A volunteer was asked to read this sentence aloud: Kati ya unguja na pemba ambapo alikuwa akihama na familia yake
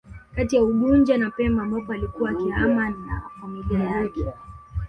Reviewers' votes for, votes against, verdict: 2, 1, accepted